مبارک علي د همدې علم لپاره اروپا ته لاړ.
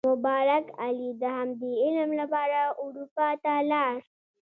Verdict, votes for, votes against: accepted, 2, 0